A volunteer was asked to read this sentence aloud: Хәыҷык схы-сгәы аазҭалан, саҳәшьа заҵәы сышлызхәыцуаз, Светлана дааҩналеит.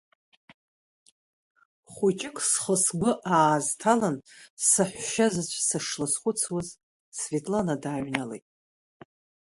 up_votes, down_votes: 2, 0